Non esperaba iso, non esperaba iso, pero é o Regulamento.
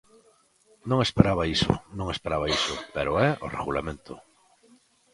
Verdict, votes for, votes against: accepted, 2, 0